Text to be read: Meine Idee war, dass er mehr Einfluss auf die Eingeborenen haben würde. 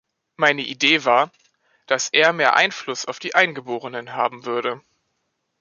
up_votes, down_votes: 2, 0